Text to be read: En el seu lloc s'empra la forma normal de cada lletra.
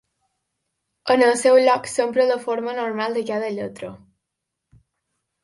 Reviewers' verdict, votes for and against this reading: accepted, 2, 0